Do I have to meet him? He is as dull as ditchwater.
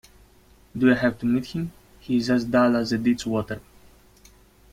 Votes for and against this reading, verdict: 1, 2, rejected